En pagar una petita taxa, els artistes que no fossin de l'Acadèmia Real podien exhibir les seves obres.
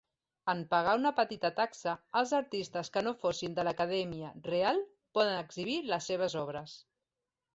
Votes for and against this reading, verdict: 1, 4, rejected